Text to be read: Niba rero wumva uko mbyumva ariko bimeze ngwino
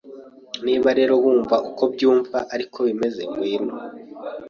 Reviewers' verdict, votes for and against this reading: accepted, 2, 0